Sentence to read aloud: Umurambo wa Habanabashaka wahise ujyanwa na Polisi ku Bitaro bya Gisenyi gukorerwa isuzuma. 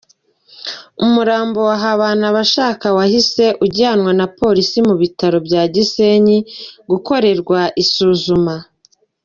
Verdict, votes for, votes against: rejected, 0, 2